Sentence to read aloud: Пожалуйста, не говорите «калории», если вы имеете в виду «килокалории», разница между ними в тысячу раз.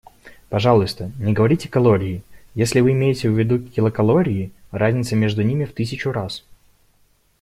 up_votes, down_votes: 1, 2